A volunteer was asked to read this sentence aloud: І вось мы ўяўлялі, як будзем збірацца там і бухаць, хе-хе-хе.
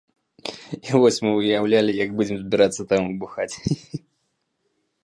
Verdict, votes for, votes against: rejected, 0, 2